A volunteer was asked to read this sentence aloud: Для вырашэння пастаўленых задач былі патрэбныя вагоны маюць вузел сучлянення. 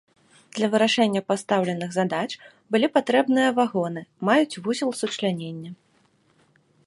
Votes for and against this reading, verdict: 2, 0, accepted